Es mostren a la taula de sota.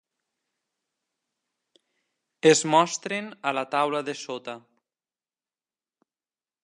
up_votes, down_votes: 3, 1